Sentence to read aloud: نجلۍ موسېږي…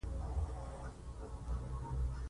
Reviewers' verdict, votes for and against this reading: rejected, 1, 2